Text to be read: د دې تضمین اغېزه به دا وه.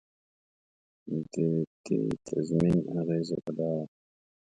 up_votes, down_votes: 2, 0